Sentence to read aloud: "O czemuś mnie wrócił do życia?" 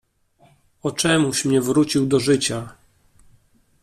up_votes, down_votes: 2, 0